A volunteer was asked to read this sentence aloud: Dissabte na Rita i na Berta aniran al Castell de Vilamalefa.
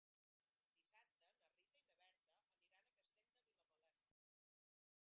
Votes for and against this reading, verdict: 0, 2, rejected